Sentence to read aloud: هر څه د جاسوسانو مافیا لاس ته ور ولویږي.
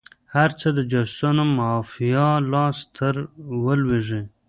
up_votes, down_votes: 1, 2